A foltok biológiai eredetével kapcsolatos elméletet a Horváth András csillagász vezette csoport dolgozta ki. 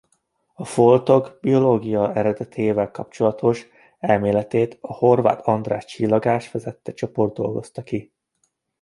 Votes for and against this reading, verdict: 1, 2, rejected